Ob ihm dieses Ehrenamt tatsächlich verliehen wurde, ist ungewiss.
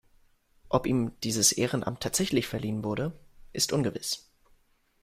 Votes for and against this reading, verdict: 2, 0, accepted